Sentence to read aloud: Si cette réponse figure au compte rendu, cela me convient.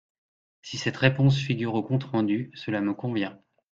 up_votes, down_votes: 2, 0